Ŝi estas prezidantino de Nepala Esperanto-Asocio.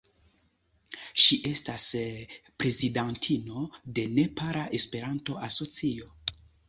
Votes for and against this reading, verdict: 2, 0, accepted